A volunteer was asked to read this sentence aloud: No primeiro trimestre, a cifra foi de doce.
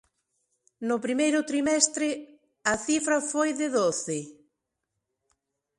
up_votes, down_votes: 2, 0